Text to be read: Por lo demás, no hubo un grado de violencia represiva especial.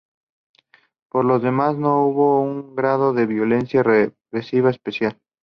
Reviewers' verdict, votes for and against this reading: accepted, 2, 0